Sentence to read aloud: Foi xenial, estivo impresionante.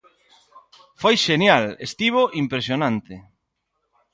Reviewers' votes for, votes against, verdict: 2, 0, accepted